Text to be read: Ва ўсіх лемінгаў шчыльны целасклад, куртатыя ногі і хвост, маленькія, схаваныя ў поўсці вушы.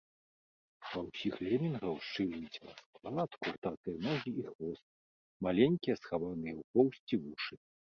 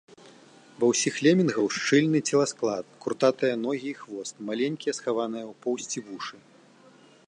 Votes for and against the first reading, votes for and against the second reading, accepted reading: 0, 2, 2, 0, second